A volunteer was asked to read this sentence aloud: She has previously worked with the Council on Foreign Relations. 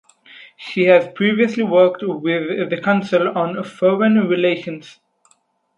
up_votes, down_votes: 4, 0